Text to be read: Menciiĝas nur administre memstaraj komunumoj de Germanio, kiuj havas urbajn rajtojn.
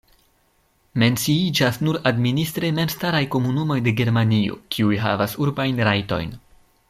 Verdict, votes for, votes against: accepted, 2, 0